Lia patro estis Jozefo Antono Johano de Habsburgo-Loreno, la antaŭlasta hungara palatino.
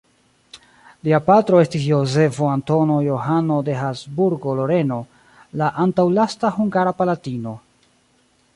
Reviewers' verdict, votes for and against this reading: accepted, 2, 0